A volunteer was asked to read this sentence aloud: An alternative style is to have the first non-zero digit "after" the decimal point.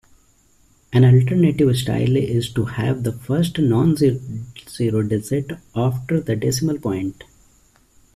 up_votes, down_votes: 0, 2